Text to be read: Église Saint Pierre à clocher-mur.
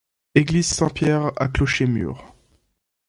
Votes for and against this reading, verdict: 2, 0, accepted